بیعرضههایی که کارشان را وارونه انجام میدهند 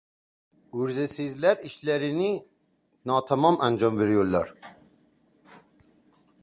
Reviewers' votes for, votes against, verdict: 0, 2, rejected